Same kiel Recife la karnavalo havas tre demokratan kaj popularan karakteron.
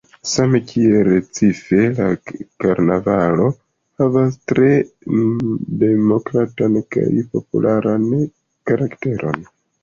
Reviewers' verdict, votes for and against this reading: accepted, 2, 0